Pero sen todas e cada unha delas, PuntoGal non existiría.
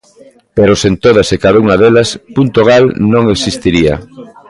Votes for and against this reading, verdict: 2, 1, accepted